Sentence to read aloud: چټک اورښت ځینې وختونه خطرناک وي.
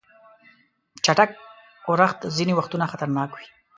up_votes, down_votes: 2, 0